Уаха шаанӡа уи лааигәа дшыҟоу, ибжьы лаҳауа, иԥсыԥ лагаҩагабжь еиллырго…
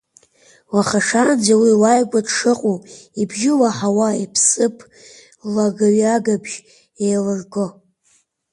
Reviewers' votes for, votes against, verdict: 2, 1, accepted